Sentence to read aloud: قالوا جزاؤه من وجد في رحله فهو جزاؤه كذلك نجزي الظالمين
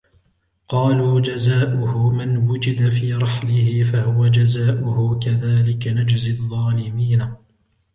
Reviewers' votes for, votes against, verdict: 2, 1, accepted